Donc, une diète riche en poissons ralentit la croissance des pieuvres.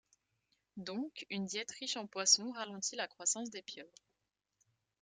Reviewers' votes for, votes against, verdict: 3, 0, accepted